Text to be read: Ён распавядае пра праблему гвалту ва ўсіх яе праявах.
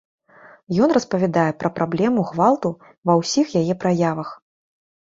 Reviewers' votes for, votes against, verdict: 2, 0, accepted